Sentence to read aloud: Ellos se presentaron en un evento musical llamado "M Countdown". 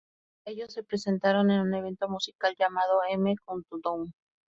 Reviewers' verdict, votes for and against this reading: rejected, 0, 2